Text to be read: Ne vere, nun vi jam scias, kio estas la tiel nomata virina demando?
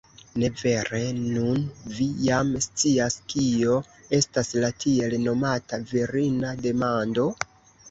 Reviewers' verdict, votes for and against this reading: accepted, 2, 0